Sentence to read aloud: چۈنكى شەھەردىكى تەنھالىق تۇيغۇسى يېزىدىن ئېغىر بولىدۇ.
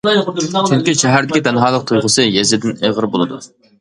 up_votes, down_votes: 2, 0